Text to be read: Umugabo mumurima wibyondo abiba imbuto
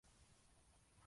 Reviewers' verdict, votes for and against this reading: rejected, 0, 2